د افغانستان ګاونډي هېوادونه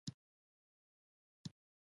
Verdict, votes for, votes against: accepted, 2, 1